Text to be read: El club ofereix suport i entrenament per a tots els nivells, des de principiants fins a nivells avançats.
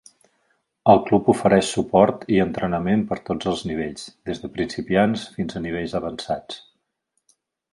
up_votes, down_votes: 1, 2